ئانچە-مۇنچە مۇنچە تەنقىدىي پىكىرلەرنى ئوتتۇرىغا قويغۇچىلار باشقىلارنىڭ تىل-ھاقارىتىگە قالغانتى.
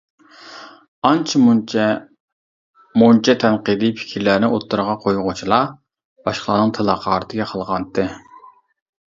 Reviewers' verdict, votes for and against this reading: rejected, 0, 2